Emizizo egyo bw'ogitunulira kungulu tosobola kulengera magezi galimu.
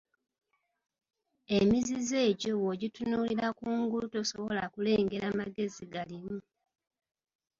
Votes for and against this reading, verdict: 2, 0, accepted